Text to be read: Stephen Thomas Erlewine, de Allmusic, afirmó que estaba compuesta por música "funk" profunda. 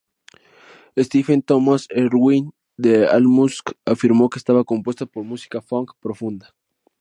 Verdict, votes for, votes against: accepted, 2, 0